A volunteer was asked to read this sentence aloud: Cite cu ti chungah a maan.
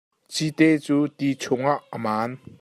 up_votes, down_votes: 2, 0